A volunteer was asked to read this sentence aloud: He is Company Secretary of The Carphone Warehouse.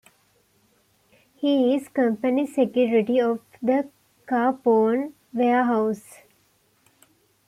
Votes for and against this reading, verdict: 1, 2, rejected